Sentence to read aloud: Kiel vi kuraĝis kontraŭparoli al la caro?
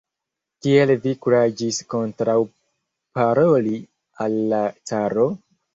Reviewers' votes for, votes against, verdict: 3, 0, accepted